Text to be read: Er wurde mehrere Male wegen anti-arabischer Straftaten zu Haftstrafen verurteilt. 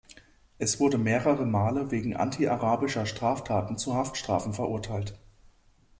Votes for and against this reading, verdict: 0, 2, rejected